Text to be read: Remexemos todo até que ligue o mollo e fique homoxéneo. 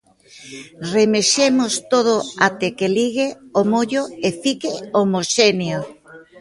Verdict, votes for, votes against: accepted, 2, 0